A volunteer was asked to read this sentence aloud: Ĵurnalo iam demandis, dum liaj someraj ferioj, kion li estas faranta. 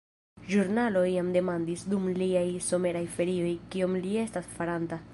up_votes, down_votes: 1, 2